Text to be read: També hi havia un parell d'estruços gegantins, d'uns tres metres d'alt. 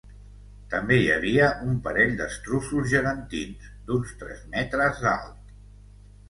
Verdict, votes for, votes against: accepted, 3, 0